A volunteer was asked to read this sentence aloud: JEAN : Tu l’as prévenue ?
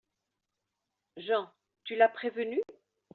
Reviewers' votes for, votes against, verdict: 2, 0, accepted